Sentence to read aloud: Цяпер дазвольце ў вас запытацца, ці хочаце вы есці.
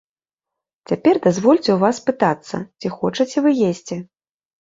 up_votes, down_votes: 0, 2